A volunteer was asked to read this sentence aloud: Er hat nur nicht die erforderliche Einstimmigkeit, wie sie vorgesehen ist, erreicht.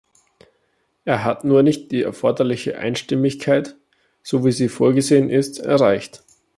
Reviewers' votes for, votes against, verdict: 0, 2, rejected